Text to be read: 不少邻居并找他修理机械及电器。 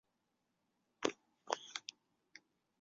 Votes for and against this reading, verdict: 0, 2, rejected